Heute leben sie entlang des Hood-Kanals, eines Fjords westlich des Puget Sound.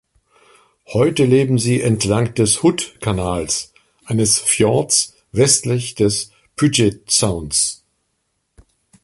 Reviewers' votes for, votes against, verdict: 1, 2, rejected